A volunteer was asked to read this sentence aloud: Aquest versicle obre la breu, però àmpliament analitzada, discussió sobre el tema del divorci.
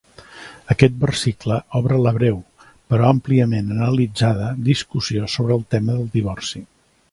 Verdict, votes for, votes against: accepted, 3, 0